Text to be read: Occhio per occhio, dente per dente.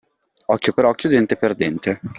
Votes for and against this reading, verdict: 2, 0, accepted